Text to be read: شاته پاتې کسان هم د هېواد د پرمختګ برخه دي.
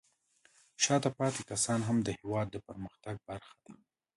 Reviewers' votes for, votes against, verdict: 2, 0, accepted